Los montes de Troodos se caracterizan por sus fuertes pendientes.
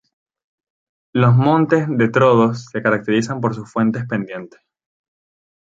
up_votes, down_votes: 0, 2